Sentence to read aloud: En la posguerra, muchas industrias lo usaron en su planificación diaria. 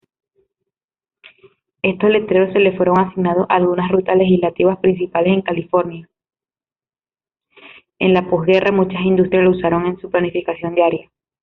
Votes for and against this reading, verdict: 0, 2, rejected